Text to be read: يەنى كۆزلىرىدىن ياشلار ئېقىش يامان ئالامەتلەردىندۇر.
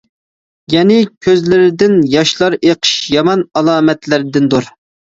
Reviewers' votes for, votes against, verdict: 2, 0, accepted